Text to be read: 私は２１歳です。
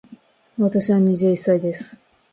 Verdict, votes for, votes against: rejected, 0, 2